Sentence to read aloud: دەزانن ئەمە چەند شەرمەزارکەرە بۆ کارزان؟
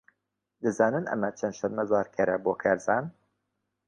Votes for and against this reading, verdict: 2, 0, accepted